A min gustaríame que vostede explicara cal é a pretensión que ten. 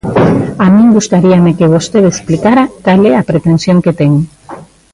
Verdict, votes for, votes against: accepted, 2, 0